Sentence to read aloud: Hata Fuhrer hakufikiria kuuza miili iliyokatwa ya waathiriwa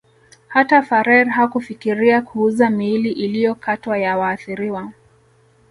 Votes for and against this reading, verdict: 0, 2, rejected